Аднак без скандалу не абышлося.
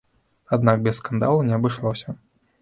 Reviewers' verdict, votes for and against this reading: accepted, 2, 0